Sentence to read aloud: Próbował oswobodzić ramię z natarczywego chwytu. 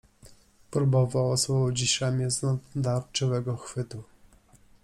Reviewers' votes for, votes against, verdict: 1, 2, rejected